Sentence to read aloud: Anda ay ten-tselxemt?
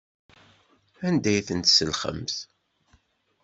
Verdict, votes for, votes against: accepted, 2, 0